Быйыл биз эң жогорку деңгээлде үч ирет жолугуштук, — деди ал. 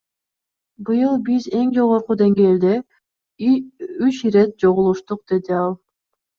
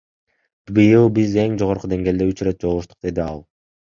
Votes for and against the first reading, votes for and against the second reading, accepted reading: 0, 2, 2, 0, second